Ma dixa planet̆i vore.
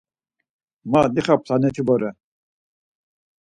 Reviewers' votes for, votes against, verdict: 4, 0, accepted